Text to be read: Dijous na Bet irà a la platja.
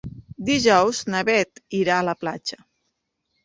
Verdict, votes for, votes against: accepted, 2, 1